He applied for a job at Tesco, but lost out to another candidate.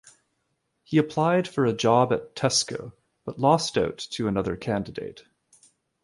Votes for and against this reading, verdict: 2, 1, accepted